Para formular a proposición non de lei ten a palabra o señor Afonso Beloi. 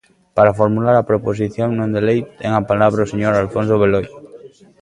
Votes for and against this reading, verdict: 1, 2, rejected